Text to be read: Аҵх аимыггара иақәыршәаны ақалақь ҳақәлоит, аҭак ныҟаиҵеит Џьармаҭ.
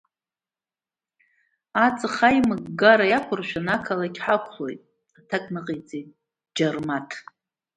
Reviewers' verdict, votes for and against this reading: accepted, 2, 1